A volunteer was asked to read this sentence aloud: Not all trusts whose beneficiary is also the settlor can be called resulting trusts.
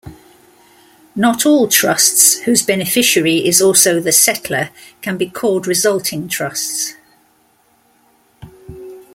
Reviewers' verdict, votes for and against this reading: accepted, 2, 0